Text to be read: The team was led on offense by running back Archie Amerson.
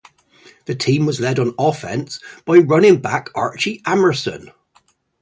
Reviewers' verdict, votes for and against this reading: accepted, 8, 0